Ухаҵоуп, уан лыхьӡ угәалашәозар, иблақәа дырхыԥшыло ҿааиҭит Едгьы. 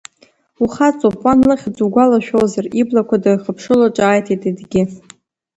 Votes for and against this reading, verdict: 1, 2, rejected